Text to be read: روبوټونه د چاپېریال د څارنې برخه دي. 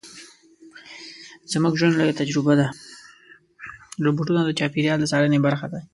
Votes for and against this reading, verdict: 1, 2, rejected